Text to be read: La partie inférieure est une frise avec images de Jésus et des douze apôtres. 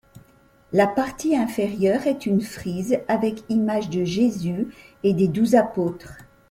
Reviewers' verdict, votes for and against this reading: accepted, 2, 1